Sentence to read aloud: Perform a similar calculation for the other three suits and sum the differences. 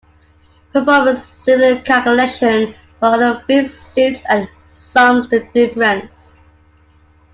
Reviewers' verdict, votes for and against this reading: rejected, 0, 2